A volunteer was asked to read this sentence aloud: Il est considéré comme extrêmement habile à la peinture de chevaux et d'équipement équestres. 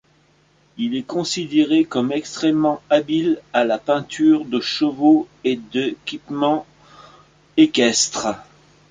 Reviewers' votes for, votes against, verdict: 2, 1, accepted